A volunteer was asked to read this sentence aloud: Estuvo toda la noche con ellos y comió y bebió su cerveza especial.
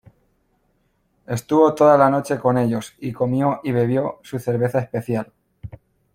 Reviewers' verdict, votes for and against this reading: accepted, 2, 0